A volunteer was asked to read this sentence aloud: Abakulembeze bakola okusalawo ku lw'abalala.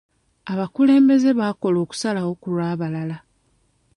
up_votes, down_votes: 0, 2